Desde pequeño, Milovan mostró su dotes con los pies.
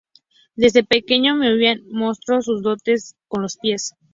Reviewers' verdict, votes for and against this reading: rejected, 0, 4